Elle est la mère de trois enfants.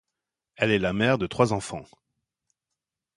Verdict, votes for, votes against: accepted, 2, 0